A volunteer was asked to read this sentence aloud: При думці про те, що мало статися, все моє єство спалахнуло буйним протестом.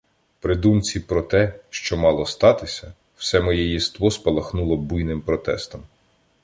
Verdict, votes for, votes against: accepted, 2, 0